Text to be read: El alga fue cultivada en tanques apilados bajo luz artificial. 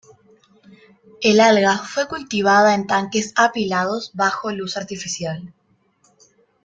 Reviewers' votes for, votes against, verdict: 2, 0, accepted